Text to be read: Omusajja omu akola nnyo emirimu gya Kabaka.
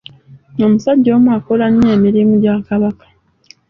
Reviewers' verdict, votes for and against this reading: accepted, 2, 0